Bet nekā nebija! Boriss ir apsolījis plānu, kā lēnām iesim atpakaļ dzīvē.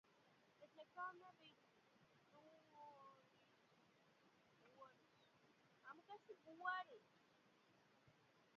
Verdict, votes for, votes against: rejected, 0, 8